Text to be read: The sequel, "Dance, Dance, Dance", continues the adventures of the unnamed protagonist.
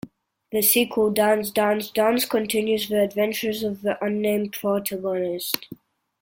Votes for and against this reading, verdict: 2, 1, accepted